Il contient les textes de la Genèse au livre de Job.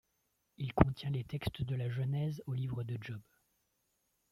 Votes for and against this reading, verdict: 2, 0, accepted